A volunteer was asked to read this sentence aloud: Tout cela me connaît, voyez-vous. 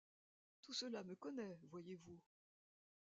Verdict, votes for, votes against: rejected, 0, 2